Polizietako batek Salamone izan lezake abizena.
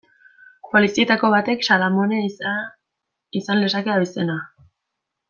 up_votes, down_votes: 1, 2